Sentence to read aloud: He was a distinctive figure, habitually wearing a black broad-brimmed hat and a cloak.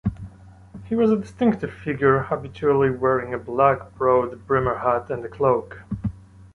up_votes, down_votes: 2, 0